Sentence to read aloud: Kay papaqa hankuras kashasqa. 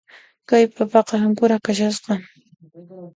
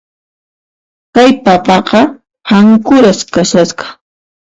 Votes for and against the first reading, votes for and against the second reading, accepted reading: 2, 0, 0, 2, first